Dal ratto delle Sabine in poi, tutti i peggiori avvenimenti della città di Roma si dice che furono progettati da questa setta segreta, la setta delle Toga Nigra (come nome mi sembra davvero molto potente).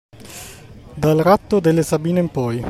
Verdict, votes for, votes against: rejected, 0, 2